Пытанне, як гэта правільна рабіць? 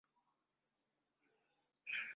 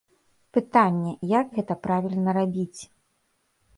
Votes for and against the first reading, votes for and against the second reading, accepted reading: 0, 2, 3, 0, second